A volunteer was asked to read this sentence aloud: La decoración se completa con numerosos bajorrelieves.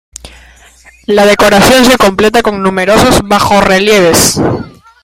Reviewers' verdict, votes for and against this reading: rejected, 0, 2